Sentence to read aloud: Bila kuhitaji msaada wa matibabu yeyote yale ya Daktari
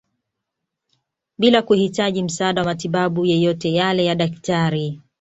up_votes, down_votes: 2, 1